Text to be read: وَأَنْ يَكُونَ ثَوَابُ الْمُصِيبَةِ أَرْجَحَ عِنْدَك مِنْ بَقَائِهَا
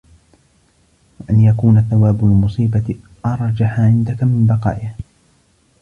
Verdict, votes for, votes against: accepted, 2, 1